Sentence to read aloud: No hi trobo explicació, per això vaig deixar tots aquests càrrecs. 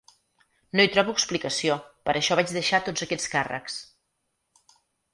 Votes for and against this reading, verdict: 8, 0, accepted